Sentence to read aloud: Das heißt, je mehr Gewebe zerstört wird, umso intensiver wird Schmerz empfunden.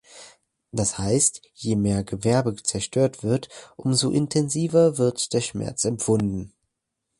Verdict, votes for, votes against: rejected, 1, 2